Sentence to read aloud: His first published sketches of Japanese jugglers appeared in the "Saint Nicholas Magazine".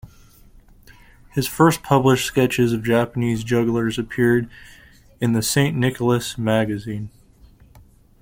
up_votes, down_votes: 2, 0